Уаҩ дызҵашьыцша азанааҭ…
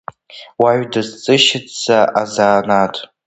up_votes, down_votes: 0, 2